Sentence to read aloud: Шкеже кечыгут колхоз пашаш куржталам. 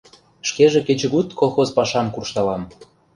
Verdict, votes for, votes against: rejected, 1, 2